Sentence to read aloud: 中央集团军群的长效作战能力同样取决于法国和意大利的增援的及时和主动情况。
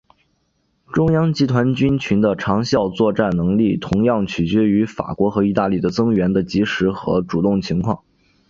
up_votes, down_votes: 2, 0